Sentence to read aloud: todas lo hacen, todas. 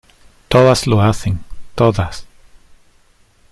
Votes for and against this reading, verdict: 2, 0, accepted